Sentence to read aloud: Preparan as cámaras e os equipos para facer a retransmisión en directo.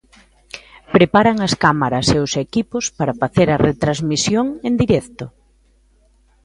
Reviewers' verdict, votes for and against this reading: accepted, 2, 0